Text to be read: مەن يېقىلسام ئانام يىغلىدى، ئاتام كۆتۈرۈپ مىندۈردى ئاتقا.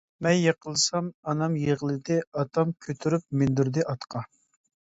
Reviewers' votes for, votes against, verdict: 2, 0, accepted